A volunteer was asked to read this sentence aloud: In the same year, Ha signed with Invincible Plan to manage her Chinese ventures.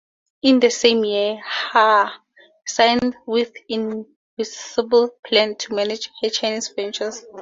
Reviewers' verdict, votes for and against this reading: rejected, 0, 2